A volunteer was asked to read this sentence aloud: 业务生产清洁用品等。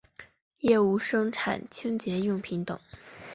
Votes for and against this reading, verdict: 5, 0, accepted